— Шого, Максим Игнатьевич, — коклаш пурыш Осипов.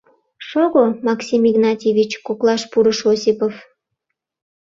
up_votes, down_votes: 2, 0